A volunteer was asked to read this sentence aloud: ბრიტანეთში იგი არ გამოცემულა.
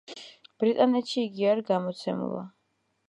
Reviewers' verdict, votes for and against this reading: accepted, 2, 1